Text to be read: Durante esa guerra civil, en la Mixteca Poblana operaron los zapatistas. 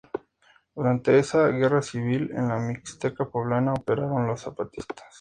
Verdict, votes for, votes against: rejected, 0, 2